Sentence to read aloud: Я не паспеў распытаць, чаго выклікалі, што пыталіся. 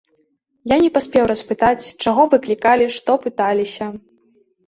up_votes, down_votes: 2, 0